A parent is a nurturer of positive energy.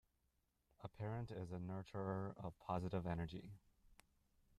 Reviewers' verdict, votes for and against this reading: rejected, 0, 2